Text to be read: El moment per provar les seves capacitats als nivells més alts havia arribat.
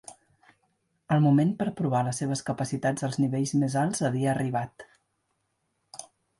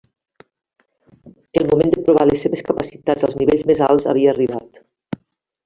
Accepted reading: first